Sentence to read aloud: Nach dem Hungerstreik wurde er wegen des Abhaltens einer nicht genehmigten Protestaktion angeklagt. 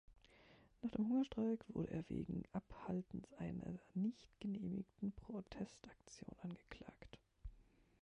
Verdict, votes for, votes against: rejected, 0, 2